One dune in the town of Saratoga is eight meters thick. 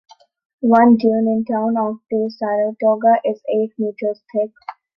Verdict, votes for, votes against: rejected, 0, 2